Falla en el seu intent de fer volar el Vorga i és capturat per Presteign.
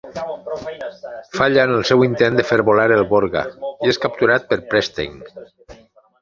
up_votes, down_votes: 0, 2